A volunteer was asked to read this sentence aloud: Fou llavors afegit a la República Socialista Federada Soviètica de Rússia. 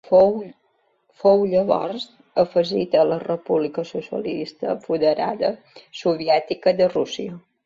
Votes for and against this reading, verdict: 0, 2, rejected